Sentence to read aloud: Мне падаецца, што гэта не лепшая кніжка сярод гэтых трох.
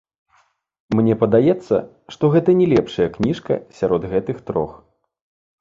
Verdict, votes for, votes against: rejected, 1, 2